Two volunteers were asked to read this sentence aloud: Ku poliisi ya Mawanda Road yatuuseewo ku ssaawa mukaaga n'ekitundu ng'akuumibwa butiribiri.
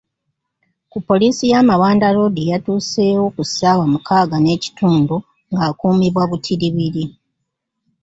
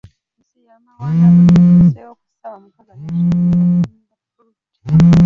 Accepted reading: first